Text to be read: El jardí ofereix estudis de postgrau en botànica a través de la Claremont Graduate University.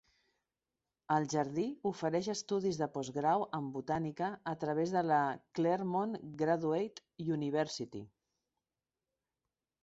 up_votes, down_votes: 2, 0